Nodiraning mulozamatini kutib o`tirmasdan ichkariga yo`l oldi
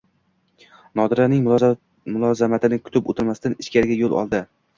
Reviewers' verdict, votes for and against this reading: rejected, 1, 2